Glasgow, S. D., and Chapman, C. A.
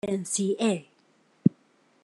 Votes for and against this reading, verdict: 0, 2, rejected